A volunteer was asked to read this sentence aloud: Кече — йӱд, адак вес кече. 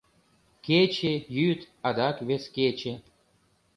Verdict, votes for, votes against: accepted, 2, 0